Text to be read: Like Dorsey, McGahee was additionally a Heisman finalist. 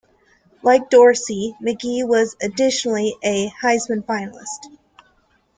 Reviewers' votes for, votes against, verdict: 2, 0, accepted